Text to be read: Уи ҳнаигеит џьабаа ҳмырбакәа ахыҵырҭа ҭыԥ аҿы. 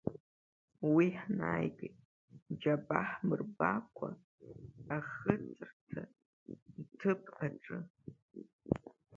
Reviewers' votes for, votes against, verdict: 2, 0, accepted